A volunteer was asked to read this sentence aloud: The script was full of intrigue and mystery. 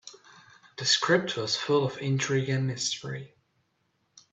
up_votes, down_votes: 2, 0